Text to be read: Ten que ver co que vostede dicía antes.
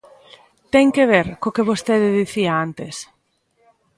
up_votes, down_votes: 2, 0